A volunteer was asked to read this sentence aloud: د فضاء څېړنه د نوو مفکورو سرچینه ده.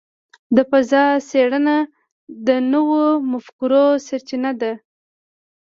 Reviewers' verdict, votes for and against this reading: accepted, 3, 0